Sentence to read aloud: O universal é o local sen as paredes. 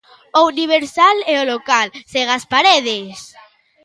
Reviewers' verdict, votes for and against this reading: accepted, 2, 0